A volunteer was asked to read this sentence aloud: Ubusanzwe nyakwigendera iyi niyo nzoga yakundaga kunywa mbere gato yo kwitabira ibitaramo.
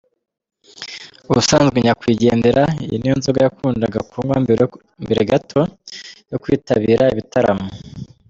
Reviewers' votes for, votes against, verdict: 0, 2, rejected